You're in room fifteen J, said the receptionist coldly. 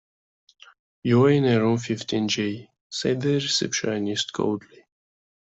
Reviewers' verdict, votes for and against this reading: rejected, 0, 2